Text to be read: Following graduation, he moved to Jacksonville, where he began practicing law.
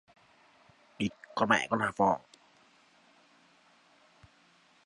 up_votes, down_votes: 0, 2